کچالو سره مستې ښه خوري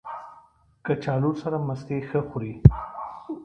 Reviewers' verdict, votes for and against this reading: accepted, 2, 0